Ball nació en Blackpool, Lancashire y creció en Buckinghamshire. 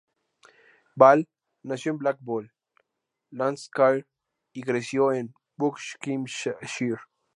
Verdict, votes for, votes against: rejected, 0, 2